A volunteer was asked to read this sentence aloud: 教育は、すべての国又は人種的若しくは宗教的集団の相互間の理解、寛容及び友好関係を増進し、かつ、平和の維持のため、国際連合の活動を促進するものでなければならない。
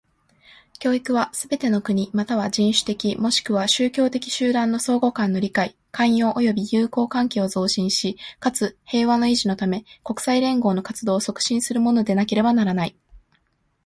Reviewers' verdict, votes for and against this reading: accepted, 2, 0